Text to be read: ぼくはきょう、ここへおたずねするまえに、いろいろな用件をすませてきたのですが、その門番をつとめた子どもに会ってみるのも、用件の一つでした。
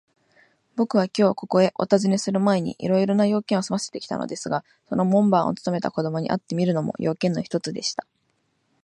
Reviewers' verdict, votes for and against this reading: accepted, 10, 0